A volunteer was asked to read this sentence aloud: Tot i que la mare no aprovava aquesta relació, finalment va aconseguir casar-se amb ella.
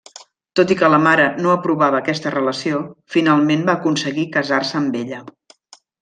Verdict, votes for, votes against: accepted, 3, 0